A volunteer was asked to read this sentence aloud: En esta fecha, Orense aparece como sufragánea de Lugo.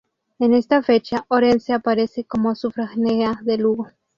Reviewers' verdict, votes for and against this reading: rejected, 0, 2